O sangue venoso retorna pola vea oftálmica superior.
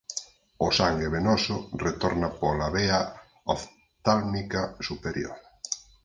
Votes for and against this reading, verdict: 2, 4, rejected